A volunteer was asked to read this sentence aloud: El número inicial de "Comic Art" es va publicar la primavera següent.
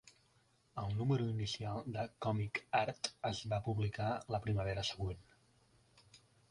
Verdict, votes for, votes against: accepted, 3, 0